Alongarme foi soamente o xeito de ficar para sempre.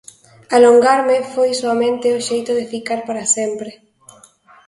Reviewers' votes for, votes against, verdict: 2, 0, accepted